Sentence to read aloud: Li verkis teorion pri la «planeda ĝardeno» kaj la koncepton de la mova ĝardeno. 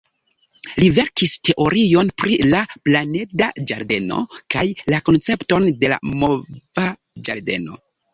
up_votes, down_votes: 2, 1